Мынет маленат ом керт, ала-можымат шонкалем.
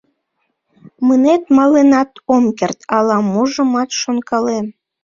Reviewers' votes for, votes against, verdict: 1, 2, rejected